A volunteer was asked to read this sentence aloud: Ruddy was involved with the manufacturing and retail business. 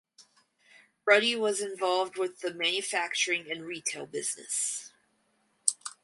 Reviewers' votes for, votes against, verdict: 4, 0, accepted